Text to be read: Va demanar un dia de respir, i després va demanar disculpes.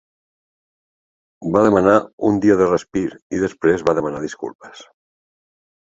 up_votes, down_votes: 2, 0